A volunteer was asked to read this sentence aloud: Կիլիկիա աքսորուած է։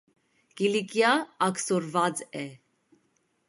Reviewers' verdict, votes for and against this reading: accepted, 2, 0